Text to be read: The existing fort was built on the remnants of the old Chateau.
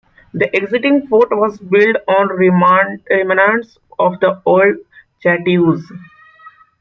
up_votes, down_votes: 0, 2